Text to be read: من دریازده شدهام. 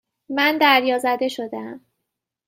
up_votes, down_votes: 2, 0